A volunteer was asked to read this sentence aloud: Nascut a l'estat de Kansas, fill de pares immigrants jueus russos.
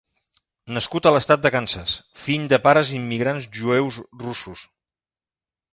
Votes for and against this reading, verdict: 0, 2, rejected